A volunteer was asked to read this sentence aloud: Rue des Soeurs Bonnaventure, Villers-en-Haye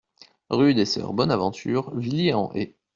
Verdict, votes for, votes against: rejected, 1, 2